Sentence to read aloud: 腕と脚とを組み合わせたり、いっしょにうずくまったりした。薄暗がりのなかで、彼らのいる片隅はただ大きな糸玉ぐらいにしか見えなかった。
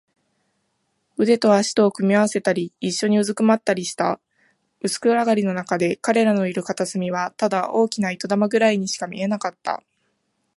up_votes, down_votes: 5, 0